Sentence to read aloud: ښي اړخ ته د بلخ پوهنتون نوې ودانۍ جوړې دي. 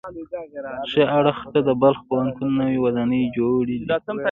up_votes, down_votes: 1, 2